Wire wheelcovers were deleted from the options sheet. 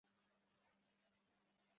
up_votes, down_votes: 0, 2